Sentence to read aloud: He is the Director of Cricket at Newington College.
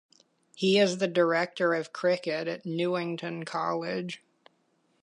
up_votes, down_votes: 2, 0